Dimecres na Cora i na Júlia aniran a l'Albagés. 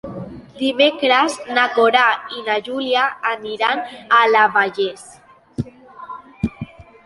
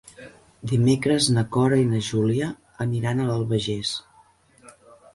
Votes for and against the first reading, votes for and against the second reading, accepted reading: 0, 2, 4, 0, second